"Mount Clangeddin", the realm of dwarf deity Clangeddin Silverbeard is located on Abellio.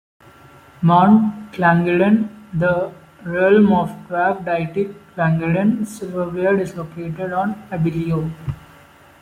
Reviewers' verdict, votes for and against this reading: rejected, 1, 2